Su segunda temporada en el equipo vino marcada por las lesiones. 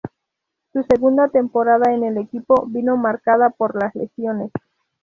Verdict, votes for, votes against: accepted, 2, 0